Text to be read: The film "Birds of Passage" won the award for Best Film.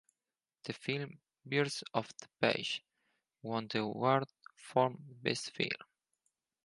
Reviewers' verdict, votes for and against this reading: rejected, 0, 4